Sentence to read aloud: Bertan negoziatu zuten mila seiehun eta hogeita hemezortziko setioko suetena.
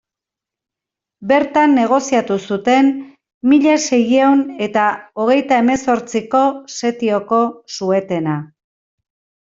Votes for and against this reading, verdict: 1, 2, rejected